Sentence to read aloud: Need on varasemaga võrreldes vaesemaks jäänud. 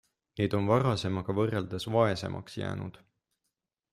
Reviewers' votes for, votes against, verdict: 2, 0, accepted